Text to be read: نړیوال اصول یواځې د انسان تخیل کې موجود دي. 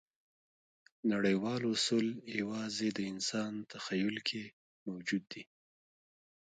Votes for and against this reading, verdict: 0, 2, rejected